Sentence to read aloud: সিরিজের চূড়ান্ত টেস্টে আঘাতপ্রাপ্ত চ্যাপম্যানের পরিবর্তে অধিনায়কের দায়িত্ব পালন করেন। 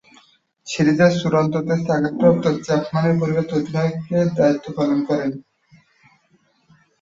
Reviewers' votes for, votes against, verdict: 5, 6, rejected